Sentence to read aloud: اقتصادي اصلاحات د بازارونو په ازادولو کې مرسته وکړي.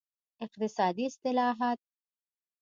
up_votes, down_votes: 2, 1